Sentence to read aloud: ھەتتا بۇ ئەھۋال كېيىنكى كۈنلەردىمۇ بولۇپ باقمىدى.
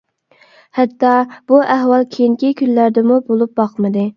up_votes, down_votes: 2, 0